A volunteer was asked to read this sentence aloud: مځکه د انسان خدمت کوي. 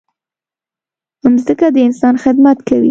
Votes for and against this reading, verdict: 2, 0, accepted